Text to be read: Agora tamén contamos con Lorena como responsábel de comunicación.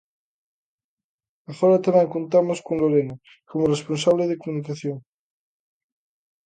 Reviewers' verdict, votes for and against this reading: rejected, 1, 2